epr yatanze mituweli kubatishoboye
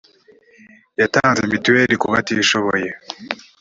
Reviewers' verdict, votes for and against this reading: rejected, 1, 2